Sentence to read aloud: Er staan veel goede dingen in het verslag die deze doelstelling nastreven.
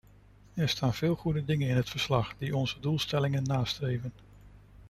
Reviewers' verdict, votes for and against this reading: rejected, 0, 3